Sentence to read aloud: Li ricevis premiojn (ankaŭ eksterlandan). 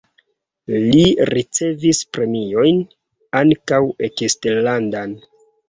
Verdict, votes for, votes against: rejected, 1, 2